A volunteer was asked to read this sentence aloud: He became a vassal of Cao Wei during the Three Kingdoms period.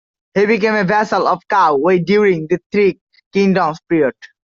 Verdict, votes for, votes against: rejected, 0, 2